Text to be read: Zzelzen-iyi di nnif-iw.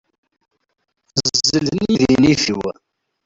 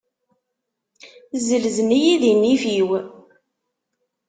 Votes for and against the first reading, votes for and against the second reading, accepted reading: 0, 2, 2, 0, second